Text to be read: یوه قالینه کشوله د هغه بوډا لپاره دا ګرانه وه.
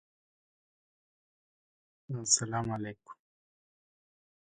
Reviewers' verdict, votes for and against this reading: rejected, 0, 2